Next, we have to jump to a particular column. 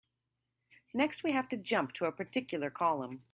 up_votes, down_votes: 2, 0